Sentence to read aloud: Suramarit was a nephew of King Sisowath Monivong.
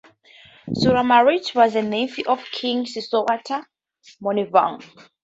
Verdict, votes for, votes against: accepted, 2, 0